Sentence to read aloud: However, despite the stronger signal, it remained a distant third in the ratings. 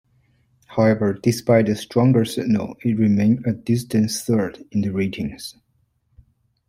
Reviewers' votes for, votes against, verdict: 2, 1, accepted